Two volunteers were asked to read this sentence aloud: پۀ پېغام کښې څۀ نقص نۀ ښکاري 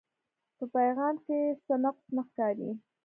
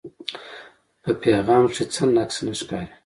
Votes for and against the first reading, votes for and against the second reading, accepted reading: 1, 2, 2, 1, second